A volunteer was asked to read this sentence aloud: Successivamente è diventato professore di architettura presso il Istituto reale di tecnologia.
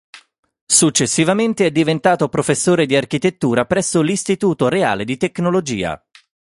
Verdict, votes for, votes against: rejected, 2, 4